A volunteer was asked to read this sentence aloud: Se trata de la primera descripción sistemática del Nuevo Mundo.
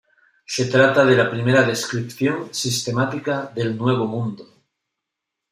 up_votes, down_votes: 2, 1